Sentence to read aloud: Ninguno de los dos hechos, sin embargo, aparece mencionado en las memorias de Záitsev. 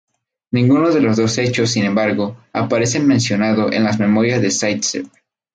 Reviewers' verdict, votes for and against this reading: rejected, 0, 2